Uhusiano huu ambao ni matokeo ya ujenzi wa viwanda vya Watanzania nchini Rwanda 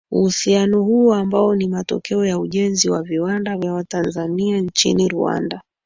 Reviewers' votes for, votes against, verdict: 2, 3, rejected